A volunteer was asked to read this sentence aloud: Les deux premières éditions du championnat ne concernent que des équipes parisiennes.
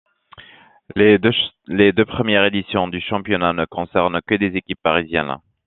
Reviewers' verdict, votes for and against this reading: rejected, 1, 2